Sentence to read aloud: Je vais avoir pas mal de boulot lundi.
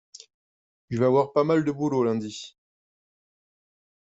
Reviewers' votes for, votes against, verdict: 2, 0, accepted